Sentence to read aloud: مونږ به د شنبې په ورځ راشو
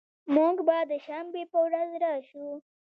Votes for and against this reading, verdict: 2, 0, accepted